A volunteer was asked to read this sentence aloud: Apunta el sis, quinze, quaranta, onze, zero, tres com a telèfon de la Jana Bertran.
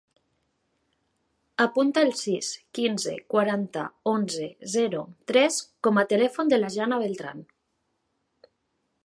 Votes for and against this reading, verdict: 3, 2, accepted